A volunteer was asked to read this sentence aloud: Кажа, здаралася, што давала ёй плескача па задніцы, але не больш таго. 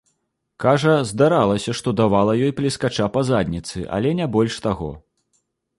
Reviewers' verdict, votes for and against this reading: accepted, 2, 0